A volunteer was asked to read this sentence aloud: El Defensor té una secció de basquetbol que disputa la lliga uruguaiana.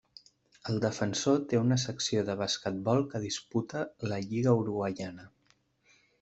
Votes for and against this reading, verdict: 2, 0, accepted